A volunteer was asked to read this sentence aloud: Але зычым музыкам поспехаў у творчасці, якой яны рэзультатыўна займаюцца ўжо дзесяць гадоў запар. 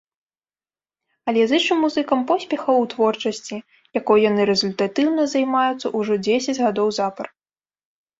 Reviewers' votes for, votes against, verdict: 2, 0, accepted